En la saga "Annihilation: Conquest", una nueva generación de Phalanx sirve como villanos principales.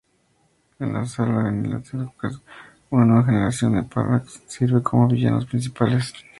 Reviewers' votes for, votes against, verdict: 2, 0, accepted